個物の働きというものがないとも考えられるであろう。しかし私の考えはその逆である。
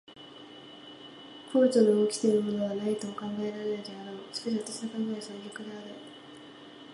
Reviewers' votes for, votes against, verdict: 0, 2, rejected